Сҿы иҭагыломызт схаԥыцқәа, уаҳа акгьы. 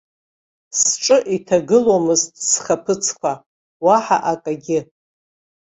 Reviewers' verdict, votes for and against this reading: rejected, 1, 2